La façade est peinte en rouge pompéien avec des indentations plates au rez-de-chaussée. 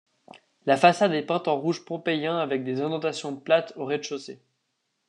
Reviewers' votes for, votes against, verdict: 2, 0, accepted